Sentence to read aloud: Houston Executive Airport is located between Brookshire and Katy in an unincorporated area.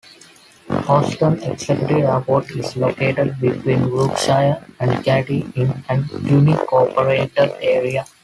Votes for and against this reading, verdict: 0, 2, rejected